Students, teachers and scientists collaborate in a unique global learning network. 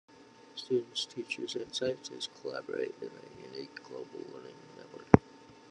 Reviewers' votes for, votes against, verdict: 2, 0, accepted